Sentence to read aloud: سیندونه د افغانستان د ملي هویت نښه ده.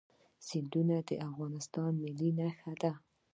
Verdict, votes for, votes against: accepted, 2, 0